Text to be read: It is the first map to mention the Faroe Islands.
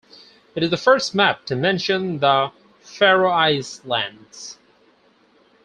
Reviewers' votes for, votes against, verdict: 2, 4, rejected